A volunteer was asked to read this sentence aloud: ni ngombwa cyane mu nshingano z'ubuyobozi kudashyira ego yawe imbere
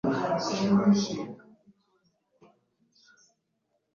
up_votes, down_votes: 0, 2